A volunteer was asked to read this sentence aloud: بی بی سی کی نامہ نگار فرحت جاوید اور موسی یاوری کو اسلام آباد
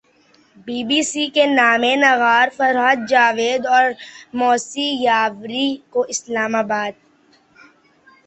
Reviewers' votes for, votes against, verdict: 2, 1, accepted